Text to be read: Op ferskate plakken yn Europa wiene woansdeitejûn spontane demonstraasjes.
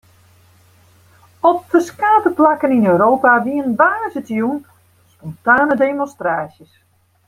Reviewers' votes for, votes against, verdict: 2, 0, accepted